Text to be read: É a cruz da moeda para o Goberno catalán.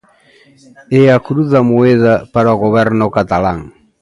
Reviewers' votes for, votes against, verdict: 2, 0, accepted